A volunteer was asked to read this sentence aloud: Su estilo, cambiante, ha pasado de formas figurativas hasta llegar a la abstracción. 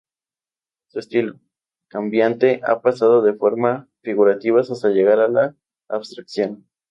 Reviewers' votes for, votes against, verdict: 0, 2, rejected